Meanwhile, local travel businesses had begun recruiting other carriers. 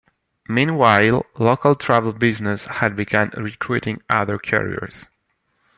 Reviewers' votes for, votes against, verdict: 1, 2, rejected